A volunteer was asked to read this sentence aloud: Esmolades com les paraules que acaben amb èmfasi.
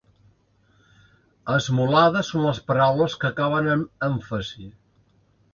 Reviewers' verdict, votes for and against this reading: rejected, 1, 2